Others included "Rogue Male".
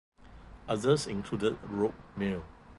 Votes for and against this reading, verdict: 2, 0, accepted